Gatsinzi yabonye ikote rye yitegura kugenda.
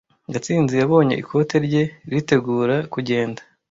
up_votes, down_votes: 0, 2